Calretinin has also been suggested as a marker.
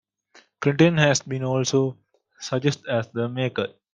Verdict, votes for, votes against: rejected, 1, 2